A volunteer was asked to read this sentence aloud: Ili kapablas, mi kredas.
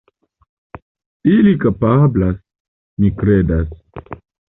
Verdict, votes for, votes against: accepted, 2, 0